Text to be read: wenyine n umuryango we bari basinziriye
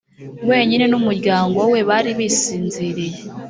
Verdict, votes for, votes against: rejected, 1, 2